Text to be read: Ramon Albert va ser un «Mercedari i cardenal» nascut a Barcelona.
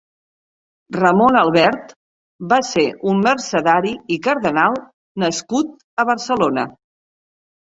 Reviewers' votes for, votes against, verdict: 2, 0, accepted